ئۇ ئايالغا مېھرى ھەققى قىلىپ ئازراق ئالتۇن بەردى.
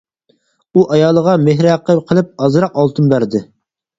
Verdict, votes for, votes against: rejected, 0, 4